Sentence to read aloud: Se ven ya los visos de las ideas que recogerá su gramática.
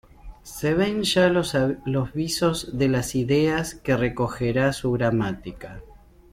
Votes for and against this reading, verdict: 2, 1, accepted